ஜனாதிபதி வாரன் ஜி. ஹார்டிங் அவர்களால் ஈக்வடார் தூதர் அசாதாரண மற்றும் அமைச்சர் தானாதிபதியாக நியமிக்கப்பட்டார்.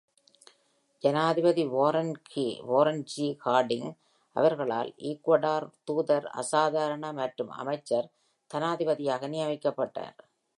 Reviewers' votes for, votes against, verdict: 0, 2, rejected